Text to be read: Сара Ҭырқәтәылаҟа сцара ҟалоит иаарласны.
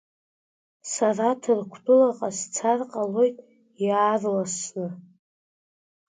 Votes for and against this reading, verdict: 0, 2, rejected